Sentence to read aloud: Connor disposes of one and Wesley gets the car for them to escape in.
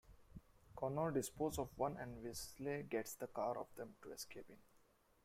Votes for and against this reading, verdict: 1, 2, rejected